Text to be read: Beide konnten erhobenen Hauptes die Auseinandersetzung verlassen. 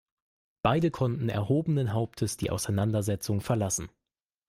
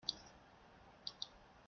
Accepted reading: first